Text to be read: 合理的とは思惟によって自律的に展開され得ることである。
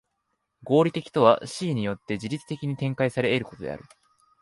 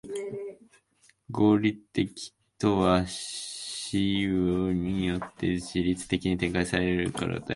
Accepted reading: first